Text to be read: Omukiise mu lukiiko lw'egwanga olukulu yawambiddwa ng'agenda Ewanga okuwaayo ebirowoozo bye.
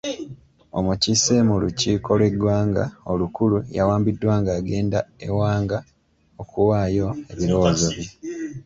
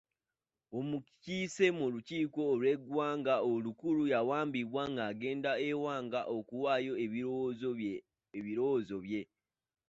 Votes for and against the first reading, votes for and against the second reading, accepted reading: 2, 0, 0, 2, first